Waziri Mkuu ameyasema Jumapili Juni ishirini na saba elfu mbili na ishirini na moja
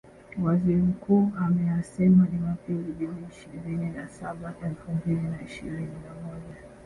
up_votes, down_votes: 2, 1